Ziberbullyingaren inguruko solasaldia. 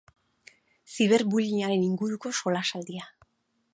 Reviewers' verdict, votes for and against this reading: rejected, 0, 2